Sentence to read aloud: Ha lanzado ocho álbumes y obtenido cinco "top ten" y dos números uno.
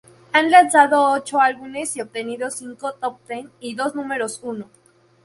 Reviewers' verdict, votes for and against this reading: accepted, 2, 0